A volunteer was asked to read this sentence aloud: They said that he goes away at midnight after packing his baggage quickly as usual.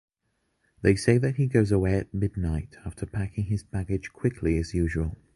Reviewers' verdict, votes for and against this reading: rejected, 1, 2